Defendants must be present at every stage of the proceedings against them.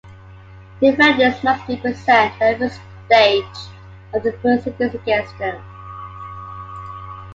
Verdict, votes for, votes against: rejected, 1, 2